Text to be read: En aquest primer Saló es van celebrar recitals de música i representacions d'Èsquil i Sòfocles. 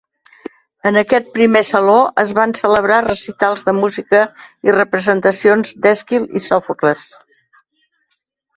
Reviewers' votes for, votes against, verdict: 2, 0, accepted